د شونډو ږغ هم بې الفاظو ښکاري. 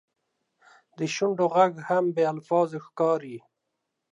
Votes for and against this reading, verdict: 0, 2, rejected